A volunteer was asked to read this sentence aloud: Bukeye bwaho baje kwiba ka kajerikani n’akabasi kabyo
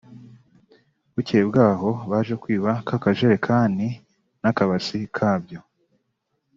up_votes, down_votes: 2, 0